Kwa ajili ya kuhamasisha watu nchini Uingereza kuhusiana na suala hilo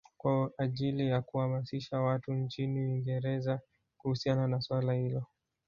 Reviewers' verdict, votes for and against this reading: rejected, 1, 2